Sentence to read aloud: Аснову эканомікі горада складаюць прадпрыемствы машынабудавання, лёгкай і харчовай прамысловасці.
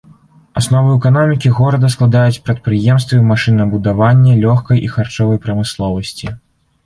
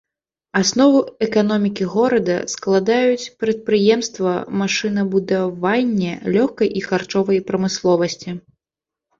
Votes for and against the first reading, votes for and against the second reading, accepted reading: 2, 0, 1, 2, first